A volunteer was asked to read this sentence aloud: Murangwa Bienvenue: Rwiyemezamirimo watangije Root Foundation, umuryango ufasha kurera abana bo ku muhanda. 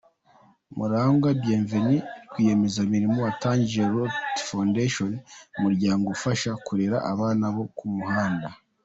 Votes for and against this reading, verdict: 2, 0, accepted